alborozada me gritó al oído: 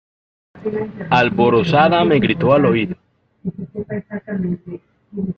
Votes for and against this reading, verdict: 2, 0, accepted